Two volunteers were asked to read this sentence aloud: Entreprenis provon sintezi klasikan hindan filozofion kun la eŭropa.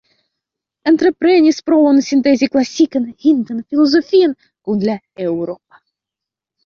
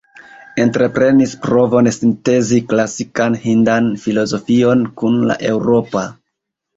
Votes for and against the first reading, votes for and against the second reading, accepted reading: 1, 2, 2, 0, second